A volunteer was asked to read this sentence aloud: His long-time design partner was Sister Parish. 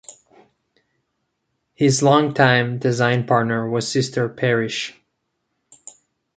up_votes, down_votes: 2, 0